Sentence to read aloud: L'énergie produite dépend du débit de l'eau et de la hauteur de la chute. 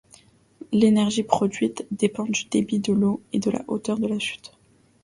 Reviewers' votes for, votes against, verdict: 2, 0, accepted